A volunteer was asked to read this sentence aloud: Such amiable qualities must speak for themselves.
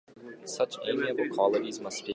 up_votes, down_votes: 0, 2